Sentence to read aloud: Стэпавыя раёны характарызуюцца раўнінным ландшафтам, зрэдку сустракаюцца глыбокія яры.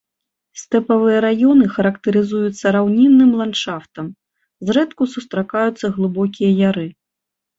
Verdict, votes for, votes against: accepted, 3, 0